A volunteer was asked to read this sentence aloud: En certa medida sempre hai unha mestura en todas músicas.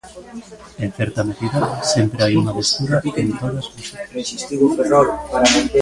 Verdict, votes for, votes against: rejected, 0, 3